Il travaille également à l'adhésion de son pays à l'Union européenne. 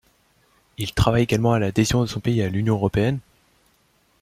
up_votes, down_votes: 2, 0